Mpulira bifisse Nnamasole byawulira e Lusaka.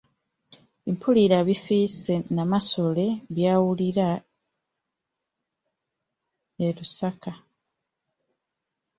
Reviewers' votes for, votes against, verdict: 1, 2, rejected